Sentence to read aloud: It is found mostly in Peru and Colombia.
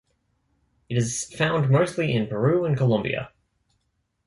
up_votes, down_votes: 2, 0